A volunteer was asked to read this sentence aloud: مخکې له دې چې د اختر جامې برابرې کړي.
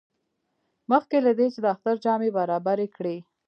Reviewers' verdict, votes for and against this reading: rejected, 0, 2